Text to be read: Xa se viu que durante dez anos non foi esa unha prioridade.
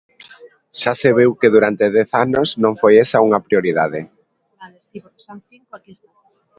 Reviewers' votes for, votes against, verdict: 1, 2, rejected